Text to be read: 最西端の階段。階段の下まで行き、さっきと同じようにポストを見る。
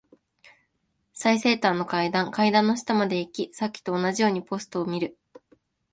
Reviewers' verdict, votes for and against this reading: accepted, 2, 0